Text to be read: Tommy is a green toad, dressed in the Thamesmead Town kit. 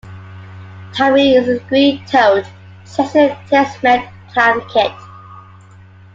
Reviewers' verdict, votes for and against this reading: rejected, 0, 2